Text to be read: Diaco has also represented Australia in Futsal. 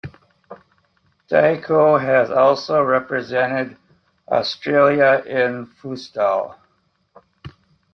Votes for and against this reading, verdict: 1, 2, rejected